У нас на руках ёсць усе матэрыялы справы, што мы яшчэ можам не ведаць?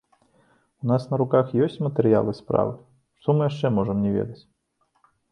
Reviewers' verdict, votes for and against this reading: rejected, 0, 2